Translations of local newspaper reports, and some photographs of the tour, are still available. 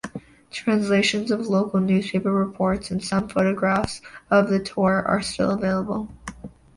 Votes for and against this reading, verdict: 2, 0, accepted